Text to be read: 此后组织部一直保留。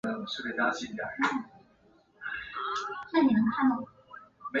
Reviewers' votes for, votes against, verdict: 1, 2, rejected